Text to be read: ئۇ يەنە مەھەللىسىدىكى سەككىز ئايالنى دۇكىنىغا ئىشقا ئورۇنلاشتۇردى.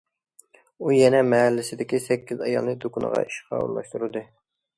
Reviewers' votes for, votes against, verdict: 2, 0, accepted